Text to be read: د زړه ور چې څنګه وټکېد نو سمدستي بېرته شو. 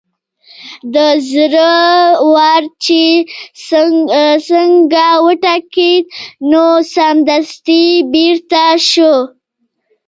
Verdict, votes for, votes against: rejected, 1, 2